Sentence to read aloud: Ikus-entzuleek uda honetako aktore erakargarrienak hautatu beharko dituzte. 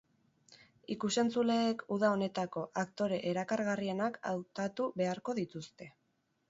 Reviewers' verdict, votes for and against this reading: accepted, 6, 0